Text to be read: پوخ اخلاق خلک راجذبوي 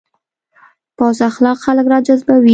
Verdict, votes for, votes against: rejected, 1, 2